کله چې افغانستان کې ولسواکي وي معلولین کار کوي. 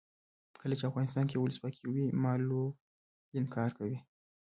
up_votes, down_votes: 1, 2